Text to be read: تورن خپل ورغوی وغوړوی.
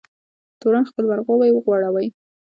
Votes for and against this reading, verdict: 2, 1, accepted